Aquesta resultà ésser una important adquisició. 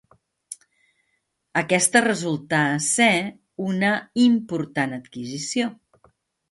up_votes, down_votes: 1, 2